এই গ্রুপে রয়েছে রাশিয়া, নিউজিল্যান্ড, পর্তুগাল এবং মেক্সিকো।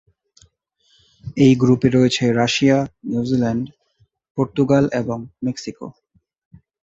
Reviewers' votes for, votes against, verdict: 2, 0, accepted